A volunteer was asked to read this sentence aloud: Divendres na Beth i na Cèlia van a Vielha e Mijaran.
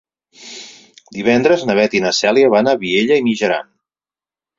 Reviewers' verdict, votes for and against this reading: accepted, 4, 0